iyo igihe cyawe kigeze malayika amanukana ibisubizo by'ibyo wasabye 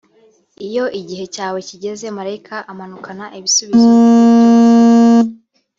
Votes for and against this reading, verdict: 0, 2, rejected